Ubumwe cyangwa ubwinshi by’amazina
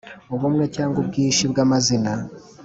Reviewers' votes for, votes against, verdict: 2, 2, rejected